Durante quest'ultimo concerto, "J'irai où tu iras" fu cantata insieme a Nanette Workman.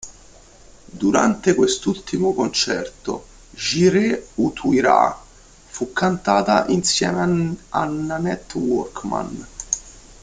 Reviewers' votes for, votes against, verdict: 0, 2, rejected